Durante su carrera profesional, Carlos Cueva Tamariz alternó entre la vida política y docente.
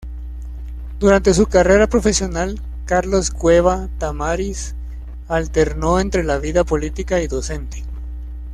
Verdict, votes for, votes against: accepted, 2, 0